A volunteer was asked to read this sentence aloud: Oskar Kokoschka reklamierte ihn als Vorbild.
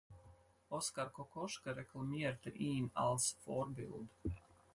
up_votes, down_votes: 4, 0